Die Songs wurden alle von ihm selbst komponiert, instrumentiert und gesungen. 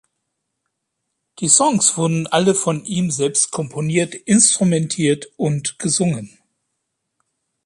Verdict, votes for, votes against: accepted, 2, 0